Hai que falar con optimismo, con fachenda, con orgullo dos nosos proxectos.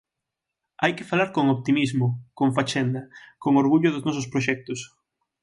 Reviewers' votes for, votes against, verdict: 6, 0, accepted